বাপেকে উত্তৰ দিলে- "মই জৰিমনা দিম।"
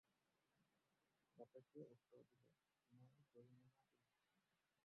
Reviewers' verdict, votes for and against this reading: rejected, 0, 4